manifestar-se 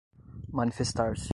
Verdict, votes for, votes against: accepted, 2, 0